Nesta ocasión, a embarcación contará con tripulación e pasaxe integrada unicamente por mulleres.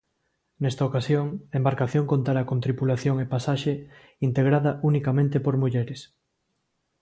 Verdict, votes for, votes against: accepted, 2, 0